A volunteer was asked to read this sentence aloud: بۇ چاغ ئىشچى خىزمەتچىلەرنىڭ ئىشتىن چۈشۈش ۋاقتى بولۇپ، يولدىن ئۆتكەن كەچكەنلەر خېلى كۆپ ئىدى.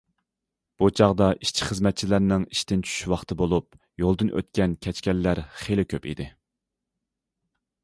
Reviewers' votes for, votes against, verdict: 0, 2, rejected